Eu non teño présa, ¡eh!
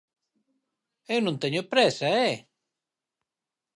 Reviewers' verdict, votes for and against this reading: accepted, 4, 0